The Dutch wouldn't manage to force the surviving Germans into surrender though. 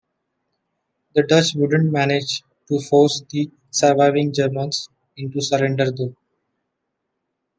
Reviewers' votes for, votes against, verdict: 2, 0, accepted